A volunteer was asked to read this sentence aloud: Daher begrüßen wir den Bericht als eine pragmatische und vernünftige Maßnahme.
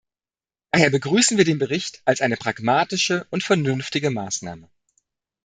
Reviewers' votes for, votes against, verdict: 1, 2, rejected